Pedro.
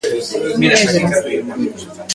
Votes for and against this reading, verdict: 0, 2, rejected